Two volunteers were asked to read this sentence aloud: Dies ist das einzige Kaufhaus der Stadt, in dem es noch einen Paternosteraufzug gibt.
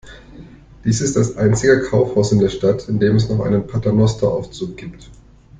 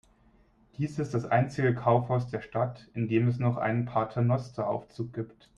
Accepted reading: second